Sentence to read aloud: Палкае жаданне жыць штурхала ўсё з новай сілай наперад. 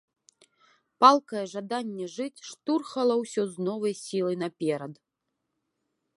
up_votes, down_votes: 0, 2